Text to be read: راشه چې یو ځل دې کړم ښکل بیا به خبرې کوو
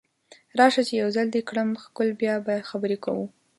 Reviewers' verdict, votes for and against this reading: accepted, 2, 0